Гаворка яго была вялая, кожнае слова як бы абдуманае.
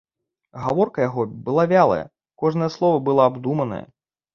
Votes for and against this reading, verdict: 0, 2, rejected